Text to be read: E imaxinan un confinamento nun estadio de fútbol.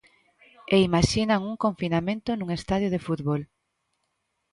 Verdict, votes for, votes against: accepted, 2, 0